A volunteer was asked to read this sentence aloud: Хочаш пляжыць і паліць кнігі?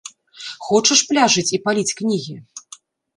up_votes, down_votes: 2, 0